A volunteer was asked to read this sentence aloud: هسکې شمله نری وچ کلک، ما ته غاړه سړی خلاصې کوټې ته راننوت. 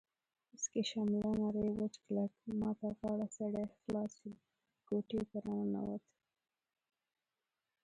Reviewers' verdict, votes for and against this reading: rejected, 1, 2